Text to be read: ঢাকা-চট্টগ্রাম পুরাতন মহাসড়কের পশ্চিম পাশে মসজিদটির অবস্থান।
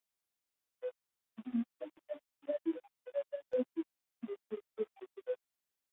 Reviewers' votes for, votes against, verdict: 0, 2, rejected